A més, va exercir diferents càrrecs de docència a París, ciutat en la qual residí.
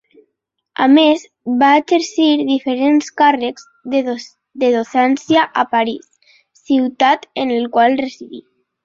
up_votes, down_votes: 0, 3